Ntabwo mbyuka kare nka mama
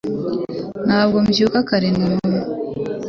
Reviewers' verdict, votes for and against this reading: rejected, 1, 2